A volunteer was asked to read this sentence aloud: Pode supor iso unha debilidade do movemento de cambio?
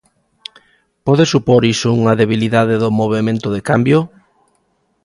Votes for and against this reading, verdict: 2, 0, accepted